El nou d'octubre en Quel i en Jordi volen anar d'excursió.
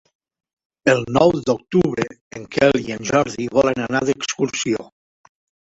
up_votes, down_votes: 1, 3